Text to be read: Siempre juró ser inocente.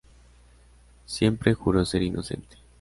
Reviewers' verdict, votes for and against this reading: accepted, 2, 0